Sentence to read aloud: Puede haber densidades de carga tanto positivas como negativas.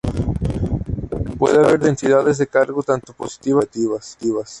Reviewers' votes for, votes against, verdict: 0, 2, rejected